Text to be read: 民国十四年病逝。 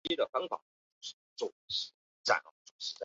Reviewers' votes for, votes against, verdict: 0, 2, rejected